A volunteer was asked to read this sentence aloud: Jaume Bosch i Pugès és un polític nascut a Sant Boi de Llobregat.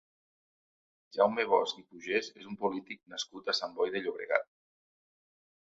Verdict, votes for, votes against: rejected, 1, 2